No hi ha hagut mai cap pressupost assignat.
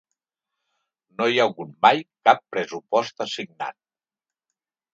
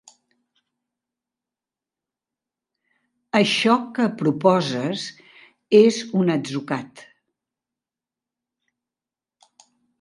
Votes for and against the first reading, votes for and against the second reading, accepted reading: 2, 0, 1, 2, first